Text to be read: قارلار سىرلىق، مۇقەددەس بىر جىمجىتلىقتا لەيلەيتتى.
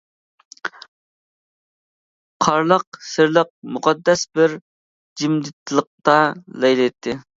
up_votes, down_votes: 0, 2